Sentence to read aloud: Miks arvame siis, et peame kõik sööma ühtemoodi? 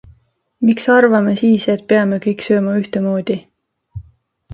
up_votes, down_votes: 2, 0